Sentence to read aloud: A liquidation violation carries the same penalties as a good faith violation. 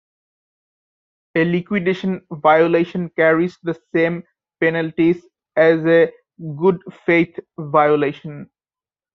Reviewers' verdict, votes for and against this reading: accepted, 2, 0